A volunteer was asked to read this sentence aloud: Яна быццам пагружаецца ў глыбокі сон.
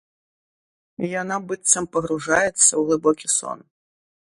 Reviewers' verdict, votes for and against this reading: accepted, 2, 0